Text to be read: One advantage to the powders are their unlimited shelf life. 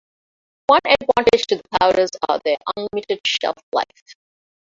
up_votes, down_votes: 1, 2